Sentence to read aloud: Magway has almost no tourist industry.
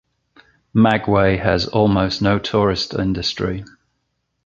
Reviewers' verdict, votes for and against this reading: accepted, 2, 0